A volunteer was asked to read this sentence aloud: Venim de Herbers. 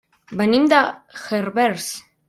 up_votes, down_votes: 0, 2